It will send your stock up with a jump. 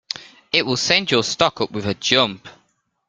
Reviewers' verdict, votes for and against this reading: accepted, 2, 0